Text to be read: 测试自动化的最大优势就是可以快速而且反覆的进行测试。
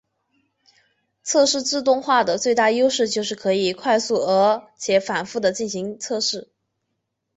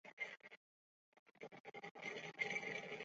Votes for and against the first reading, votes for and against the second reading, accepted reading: 2, 0, 1, 8, first